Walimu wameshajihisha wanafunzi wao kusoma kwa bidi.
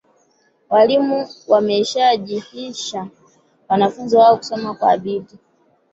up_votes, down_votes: 2, 3